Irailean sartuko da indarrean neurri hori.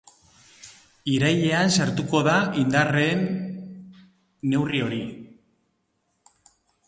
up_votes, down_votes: 1, 2